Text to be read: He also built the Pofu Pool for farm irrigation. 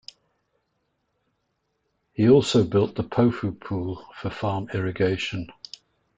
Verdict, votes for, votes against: accepted, 3, 0